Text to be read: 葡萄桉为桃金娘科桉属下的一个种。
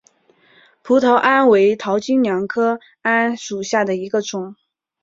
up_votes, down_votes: 2, 0